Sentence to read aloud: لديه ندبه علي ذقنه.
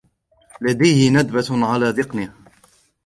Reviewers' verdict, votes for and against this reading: accepted, 2, 1